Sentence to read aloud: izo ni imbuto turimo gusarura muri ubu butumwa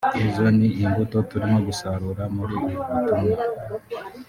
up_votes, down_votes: 0, 2